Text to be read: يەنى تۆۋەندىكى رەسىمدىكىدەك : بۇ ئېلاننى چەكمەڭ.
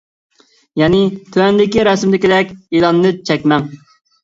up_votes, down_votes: 0, 2